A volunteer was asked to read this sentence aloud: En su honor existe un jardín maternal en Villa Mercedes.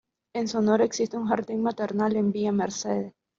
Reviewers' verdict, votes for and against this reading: rejected, 0, 2